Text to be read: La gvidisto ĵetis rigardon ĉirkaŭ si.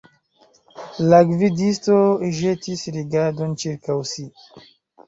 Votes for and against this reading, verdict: 2, 0, accepted